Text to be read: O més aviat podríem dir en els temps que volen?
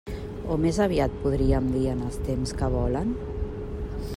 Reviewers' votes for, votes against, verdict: 2, 0, accepted